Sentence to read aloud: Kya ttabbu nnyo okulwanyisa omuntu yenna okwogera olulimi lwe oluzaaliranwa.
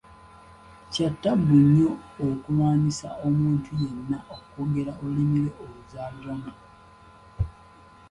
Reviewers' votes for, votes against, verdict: 1, 2, rejected